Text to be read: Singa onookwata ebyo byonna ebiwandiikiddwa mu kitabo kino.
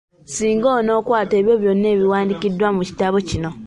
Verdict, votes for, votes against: accepted, 4, 0